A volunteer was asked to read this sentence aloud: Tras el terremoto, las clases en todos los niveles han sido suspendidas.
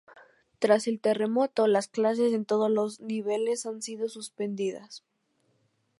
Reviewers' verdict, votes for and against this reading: accepted, 4, 0